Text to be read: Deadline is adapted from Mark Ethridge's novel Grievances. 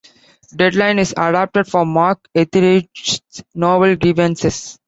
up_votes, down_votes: 2, 0